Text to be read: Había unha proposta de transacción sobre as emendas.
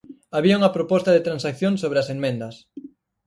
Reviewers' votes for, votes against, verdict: 2, 4, rejected